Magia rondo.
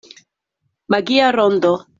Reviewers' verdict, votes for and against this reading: accepted, 2, 0